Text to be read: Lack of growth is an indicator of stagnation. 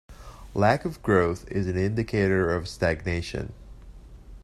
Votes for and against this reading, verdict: 2, 0, accepted